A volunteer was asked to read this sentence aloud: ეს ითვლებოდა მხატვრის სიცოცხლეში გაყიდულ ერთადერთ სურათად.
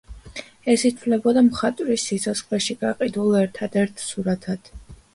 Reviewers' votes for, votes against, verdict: 1, 2, rejected